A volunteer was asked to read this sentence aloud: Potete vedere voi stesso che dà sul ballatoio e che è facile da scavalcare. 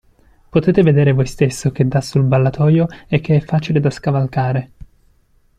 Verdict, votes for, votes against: accepted, 2, 1